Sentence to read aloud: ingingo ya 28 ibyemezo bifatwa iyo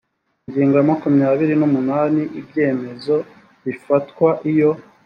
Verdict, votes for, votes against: rejected, 0, 2